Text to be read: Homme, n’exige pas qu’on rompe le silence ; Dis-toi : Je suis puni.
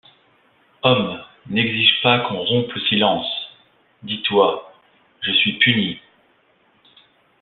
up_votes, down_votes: 2, 0